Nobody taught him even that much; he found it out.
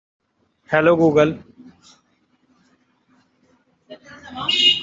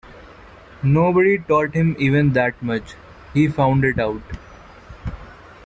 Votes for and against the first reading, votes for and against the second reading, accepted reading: 0, 2, 2, 1, second